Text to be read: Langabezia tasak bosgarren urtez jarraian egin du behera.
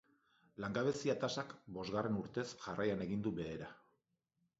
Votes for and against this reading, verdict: 2, 0, accepted